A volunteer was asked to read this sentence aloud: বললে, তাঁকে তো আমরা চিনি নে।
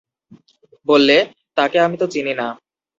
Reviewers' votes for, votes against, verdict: 0, 4, rejected